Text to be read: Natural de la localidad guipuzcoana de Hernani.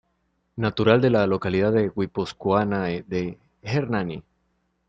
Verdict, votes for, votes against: rejected, 0, 2